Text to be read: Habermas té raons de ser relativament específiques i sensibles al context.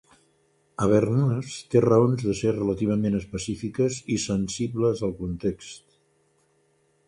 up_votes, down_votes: 2, 0